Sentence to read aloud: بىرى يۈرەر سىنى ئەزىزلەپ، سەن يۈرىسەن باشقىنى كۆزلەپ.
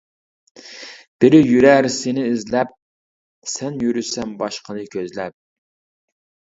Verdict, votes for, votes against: rejected, 0, 2